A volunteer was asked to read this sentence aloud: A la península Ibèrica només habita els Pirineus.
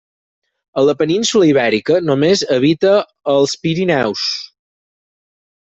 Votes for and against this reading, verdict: 4, 0, accepted